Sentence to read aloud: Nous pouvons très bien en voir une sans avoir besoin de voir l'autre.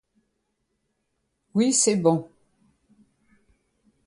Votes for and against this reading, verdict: 0, 2, rejected